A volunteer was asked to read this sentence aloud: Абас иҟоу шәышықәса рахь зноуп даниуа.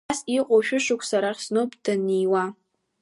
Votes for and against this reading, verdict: 2, 1, accepted